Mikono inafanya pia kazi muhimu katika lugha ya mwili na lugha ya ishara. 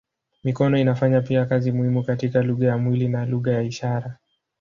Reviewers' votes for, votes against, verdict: 3, 1, accepted